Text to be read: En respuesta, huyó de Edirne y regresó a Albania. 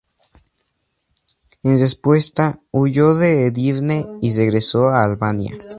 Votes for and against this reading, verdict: 2, 0, accepted